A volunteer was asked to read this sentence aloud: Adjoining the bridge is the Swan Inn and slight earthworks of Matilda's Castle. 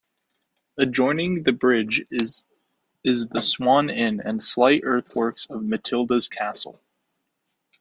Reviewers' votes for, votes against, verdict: 2, 0, accepted